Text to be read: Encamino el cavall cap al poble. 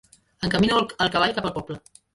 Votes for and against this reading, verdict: 1, 2, rejected